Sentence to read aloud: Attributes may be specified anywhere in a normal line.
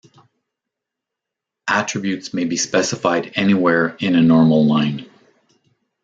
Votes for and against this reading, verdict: 2, 0, accepted